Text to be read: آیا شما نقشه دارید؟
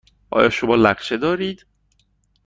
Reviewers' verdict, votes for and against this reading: rejected, 1, 2